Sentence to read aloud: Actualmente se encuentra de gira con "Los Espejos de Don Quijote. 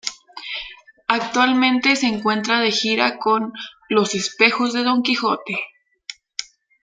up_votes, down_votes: 1, 2